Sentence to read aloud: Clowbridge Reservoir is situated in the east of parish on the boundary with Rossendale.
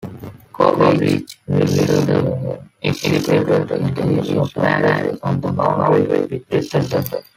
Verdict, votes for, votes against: rejected, 0, 2